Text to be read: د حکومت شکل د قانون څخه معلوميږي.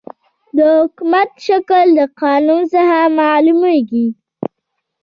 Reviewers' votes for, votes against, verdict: 2, 1, accepted